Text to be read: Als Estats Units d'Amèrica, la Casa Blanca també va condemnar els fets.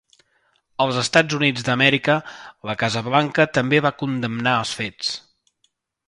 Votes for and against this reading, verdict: 2, 0, accepted